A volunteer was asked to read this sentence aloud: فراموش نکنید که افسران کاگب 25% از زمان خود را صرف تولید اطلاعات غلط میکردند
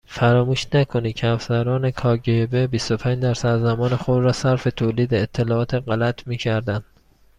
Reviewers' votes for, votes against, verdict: 0, 2, rejected